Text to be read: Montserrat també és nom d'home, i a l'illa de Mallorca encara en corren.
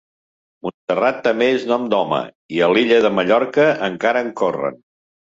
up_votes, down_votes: 1, 2